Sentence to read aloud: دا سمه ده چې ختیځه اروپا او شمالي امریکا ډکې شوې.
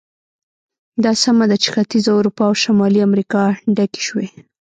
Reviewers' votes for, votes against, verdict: 2, 0, accepted